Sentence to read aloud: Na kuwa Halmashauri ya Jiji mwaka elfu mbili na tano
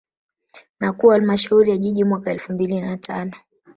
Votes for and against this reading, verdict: 1, 2, rejected